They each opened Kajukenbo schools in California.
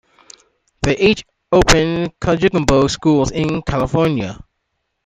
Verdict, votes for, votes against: accepted, 2, 1